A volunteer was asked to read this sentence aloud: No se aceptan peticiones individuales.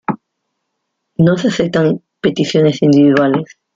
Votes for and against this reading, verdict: 0, 2, rejected